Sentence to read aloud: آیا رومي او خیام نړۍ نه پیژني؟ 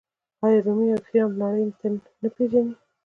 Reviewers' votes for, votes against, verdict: 2, 1, accepted